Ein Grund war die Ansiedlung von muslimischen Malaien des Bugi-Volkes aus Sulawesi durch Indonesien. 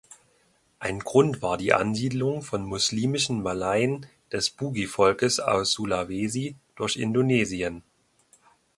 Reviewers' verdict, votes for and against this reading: accepted, 2, 0